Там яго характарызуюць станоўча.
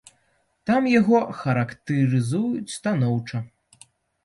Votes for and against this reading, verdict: 1, 2, rejected